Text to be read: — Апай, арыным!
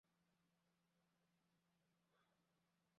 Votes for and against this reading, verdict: 0, 2, rejected